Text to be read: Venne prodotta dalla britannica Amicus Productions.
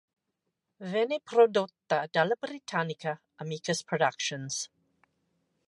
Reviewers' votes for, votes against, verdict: 2, 0, accepted